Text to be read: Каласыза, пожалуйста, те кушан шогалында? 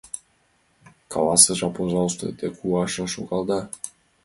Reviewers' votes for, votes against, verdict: 1, 2, rejected